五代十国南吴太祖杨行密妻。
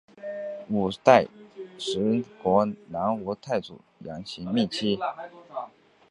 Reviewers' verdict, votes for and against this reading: accepted, 2, 1